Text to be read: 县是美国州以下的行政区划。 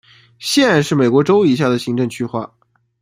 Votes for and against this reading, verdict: 2, 0, accepted